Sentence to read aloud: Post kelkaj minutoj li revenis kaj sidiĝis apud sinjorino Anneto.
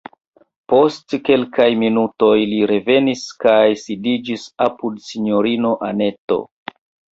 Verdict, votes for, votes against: rejected, 1, 2